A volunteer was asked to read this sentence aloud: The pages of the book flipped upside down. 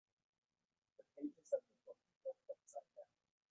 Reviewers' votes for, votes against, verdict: 1, 2, rejected